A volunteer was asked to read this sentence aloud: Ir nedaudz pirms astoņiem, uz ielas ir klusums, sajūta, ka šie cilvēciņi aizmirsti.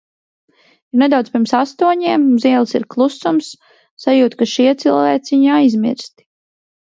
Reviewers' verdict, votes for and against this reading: rejected, 0, 2